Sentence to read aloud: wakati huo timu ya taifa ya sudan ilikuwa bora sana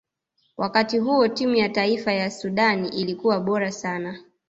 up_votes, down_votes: 1, 2